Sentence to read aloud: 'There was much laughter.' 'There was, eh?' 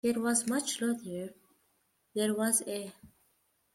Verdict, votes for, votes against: rejected, 0, 2